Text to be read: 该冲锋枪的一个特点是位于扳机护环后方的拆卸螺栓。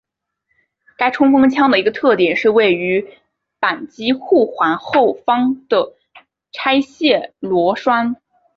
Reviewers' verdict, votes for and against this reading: accepted, 2, 0